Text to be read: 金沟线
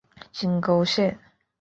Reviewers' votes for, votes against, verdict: 2, 0, accepted